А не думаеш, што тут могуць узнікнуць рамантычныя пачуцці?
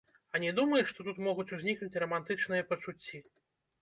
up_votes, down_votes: 1, 2